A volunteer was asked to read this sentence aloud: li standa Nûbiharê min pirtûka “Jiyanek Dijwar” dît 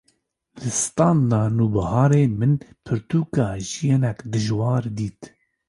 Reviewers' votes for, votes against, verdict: 2, 0, accepted